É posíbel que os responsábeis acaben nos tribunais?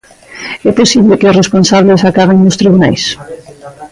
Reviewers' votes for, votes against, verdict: 0, 2, rejected